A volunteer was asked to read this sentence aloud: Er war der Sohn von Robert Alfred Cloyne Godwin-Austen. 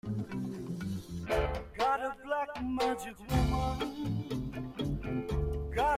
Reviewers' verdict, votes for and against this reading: rejected, 0, 2